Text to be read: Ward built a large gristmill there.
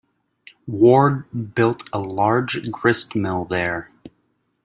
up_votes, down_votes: 2, 0